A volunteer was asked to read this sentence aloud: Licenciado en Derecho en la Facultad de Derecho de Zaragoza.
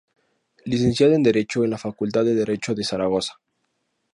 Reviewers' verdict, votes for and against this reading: accepted, 4, 0